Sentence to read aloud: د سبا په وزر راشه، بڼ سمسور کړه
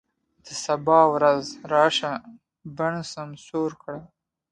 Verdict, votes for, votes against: accepted, 2, 0